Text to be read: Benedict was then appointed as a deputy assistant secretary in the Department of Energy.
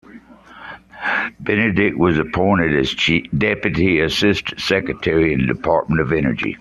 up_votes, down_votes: 0, 2